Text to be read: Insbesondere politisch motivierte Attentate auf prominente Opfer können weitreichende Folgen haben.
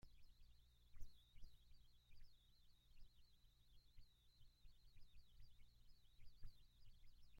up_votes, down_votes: 0, 2